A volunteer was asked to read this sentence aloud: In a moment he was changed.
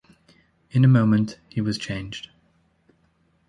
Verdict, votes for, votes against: accepted, 2, 0